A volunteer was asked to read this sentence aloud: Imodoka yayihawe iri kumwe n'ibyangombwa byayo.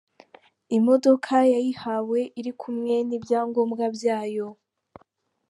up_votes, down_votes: 2, 0